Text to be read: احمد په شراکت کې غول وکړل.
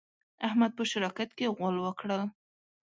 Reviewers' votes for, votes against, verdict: 1, 2, rejected